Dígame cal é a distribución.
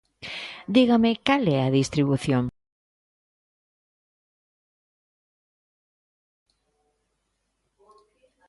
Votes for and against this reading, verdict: 2, 0, accepted